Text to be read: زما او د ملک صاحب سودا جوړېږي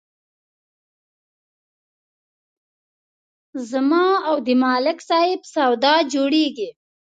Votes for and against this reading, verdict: 2, 0, accepted